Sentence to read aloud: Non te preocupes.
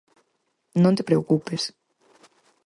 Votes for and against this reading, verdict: 4, 0, accepted